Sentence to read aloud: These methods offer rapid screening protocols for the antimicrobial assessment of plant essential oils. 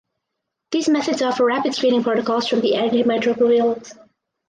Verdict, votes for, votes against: rejected, 2, 4